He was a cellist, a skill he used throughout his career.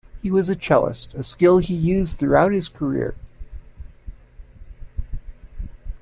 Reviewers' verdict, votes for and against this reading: accepted, 2, 0